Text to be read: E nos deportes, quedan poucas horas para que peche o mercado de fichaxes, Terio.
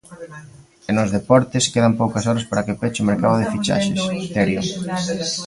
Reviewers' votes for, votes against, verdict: 1, 2, rejected